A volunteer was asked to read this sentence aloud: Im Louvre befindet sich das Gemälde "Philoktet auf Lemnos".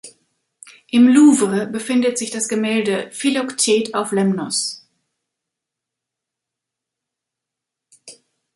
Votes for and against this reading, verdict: 1, 2, rejected